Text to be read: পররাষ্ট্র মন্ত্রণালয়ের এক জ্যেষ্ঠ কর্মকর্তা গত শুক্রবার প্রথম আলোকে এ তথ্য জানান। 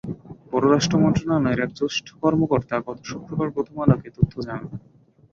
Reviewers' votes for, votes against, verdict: 5, 0, accepted